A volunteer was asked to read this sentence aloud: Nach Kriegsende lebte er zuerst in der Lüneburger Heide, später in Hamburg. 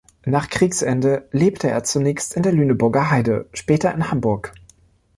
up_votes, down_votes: 0, 2